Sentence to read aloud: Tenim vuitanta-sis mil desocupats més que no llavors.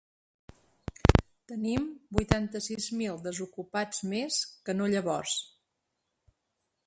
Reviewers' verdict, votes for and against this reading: rejected, 2, 4